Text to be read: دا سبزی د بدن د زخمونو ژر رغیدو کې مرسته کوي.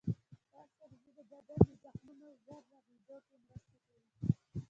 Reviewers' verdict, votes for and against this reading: accepted, 2, 0